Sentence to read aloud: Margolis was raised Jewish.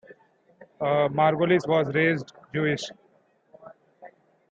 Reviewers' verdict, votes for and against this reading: accepted, 2, 0